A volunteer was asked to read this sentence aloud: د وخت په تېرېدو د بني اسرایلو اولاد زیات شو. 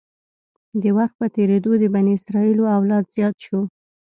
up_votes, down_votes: 2, 0